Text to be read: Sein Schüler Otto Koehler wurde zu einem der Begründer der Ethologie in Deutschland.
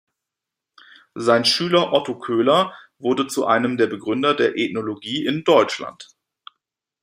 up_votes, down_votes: 2, 1